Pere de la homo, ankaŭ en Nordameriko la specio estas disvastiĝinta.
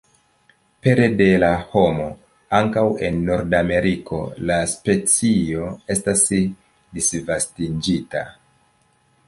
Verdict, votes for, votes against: accepted, 2, 1